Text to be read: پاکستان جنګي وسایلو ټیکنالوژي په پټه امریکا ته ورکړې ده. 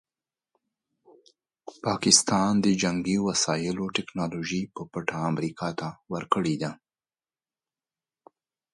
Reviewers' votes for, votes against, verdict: 2, 0, accepted